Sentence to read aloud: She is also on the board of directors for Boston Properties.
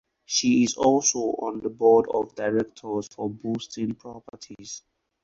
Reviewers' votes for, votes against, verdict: 4, 0, accepted